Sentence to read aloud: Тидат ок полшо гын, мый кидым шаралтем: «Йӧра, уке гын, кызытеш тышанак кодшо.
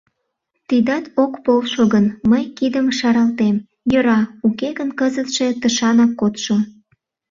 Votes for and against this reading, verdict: 0, 2, rejected